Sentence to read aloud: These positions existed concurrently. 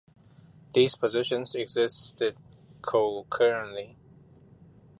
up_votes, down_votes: 2, 0